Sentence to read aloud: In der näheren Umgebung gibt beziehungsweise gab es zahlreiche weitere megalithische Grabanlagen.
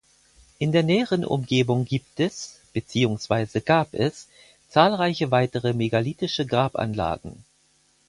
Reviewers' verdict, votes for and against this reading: rejected, 2, 4